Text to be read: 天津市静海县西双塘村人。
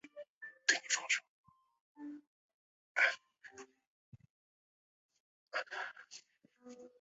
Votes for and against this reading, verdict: 0, 2, rejected